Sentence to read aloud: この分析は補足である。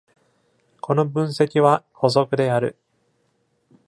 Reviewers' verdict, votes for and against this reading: accepted, 2, 0